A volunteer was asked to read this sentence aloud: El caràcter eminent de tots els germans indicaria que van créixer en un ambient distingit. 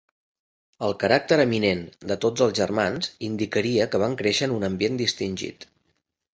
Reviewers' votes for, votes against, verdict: 3, 0, accepted